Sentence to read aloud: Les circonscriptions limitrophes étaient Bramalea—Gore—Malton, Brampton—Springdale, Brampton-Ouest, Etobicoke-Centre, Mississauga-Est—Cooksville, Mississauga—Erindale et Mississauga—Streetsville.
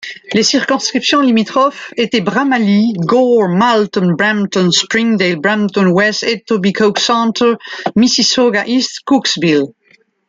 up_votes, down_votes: 1, 2